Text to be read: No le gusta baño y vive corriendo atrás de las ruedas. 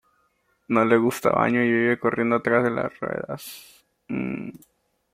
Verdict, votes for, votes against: accepted, 2, 0